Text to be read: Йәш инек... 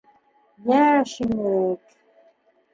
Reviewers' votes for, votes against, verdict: 2, 0, accepted